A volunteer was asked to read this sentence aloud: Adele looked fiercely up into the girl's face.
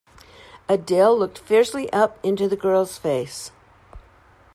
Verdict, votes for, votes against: accepted, 2, 0